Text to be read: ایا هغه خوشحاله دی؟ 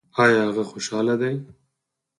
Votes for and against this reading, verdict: 4, 0, accepted